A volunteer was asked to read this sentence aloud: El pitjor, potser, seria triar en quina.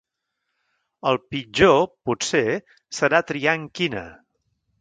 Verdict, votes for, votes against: rejected, 1, 2